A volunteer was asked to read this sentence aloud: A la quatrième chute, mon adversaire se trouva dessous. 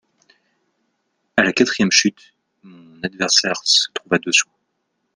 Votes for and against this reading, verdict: 1, 2, rejected